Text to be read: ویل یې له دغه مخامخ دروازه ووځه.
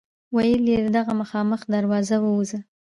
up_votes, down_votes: 1, 2